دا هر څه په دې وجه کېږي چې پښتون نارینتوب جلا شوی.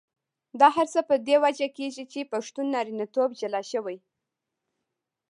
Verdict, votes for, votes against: rejected, 0, 2